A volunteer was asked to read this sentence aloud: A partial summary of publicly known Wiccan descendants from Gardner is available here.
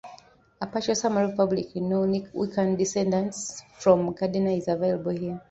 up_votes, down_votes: 0, 2